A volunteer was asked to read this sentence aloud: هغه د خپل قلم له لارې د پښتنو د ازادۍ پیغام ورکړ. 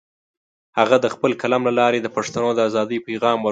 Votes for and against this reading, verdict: 0, 2, rejected